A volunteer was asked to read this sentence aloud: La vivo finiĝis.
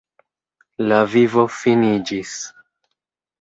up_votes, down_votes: 3, 0